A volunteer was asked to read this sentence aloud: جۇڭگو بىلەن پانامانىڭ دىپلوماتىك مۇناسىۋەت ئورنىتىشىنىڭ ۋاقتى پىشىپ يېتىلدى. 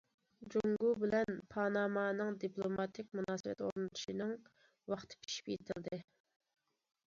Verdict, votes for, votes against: accepted, 2, 0